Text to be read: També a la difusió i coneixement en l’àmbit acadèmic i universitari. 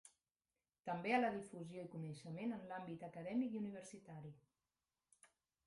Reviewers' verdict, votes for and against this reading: accepted, 2, 0